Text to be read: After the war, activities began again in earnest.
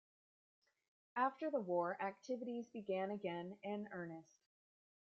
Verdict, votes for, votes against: rejected, 1, 2